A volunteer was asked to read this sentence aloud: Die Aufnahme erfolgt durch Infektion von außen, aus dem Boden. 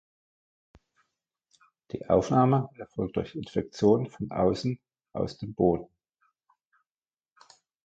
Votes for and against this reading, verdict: 2, 0, accepted